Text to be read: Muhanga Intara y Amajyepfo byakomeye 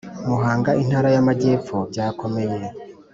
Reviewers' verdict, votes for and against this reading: accepted, 2, 0